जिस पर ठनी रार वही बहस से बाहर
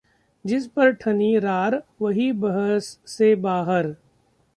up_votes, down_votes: 1, 2